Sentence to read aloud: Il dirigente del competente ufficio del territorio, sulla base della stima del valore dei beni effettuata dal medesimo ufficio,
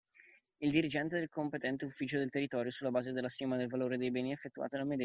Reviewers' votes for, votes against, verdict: 0, 2, rejected